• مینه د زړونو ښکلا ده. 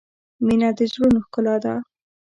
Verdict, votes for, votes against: accepted, 2, 1